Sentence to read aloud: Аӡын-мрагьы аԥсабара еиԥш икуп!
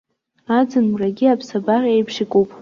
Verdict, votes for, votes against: accepted, 2, 0